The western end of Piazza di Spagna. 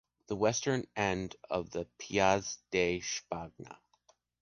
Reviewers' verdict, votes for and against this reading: rejected, 1, 2